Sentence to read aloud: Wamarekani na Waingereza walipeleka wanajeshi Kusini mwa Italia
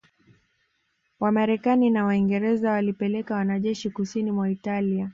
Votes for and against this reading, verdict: 2, 1, accepted